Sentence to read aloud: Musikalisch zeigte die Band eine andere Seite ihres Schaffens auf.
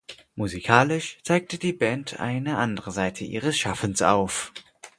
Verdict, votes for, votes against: accepted, 4, 0